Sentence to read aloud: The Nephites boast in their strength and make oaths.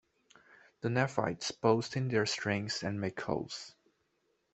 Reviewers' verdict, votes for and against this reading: rejected, 1, 2